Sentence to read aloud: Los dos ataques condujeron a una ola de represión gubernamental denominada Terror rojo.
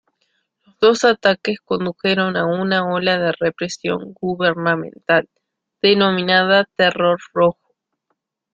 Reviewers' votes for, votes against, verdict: 2, 0, accepted